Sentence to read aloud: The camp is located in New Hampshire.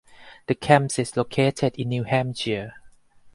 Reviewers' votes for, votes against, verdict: 4, 2, accepted